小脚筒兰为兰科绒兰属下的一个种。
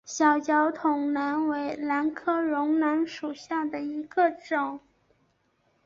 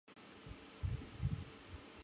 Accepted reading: first